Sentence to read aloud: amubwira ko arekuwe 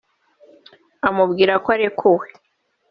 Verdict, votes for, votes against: accepted, 3, 1